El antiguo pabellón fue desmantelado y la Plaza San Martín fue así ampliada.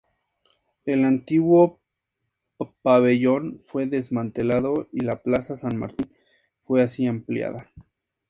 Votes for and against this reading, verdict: 2, 2, rejected